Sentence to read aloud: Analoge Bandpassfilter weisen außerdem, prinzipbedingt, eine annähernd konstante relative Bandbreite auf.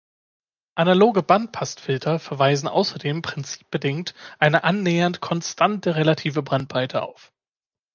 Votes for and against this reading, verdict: 0, 3, rejected